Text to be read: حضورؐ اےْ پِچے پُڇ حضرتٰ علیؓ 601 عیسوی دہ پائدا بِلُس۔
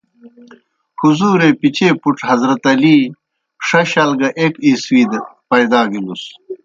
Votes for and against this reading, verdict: 0, 2, rejected